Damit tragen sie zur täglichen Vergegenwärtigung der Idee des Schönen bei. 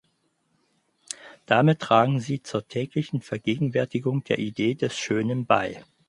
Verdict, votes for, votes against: accepted, 4, 0